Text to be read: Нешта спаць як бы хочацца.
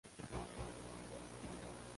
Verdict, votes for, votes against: rejected, 0, 2